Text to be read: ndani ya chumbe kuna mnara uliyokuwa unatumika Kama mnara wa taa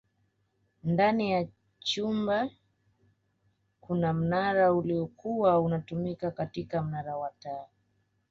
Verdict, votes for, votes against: rejected, 1, 2